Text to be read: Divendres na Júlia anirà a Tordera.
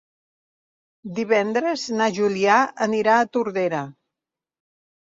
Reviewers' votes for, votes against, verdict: 0, 2, rejected